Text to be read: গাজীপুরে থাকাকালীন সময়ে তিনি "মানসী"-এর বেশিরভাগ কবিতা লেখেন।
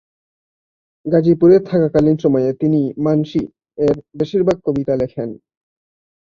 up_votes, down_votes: 1, 3